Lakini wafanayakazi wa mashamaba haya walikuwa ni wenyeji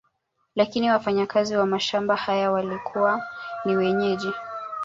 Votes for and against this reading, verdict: 1, 2, rejected